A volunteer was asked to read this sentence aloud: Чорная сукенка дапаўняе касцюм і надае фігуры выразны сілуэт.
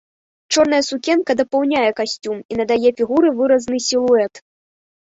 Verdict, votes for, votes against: rejected, 0, 2